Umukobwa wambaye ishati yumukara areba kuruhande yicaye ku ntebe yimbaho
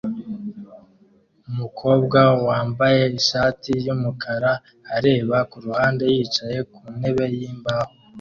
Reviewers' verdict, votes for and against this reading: accepted, 2, 0